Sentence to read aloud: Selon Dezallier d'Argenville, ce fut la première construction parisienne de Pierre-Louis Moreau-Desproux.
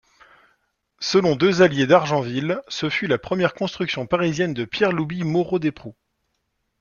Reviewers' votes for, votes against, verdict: 2, 0, accepted